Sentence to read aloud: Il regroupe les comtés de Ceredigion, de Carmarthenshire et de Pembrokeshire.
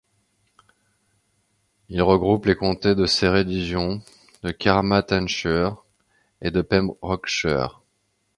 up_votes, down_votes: 0, 2